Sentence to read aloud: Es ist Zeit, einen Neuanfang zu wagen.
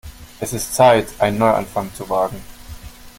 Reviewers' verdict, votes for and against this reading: rejected, 1, 2